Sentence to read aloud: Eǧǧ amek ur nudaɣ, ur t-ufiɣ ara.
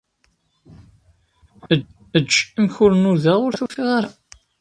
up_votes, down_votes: 0, 2